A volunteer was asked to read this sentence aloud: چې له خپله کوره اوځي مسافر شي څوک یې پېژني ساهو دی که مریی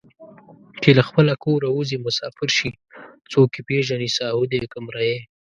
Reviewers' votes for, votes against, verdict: 2, 0, accepted